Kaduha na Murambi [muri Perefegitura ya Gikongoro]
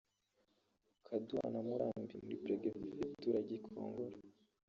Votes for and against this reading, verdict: 0, 2, rejected